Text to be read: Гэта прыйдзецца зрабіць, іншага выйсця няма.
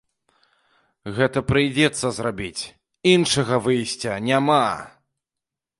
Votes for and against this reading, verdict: 0, 2, rejected